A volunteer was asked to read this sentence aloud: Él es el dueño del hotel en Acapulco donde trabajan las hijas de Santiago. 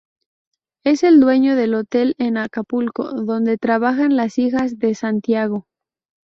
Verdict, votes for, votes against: rejected, 0, 2